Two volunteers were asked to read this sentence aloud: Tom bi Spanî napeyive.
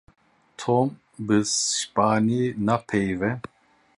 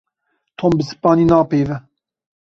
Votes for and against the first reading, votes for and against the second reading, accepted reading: 0, 2, 2, 0, second